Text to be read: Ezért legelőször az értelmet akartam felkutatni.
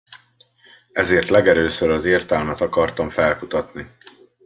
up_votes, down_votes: 2, 0